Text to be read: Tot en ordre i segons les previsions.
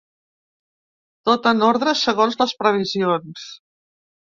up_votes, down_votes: 0, 2